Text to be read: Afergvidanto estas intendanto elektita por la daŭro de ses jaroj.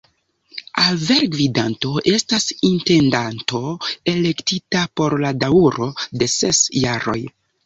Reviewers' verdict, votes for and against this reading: rejected, 1, 2